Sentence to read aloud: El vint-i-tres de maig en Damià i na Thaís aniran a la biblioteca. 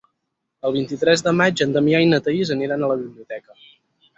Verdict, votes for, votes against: rejected, 0, 4